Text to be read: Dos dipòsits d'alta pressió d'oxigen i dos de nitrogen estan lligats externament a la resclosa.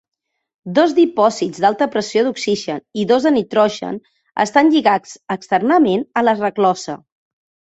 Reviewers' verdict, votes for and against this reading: rejected, 1, 2